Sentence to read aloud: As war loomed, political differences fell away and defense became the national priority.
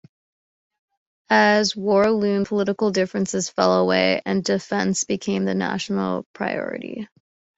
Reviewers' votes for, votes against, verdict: 2, 0, accepted